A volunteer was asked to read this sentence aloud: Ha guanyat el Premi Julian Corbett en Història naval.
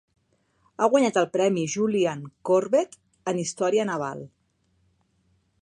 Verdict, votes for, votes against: accepted, 3, 0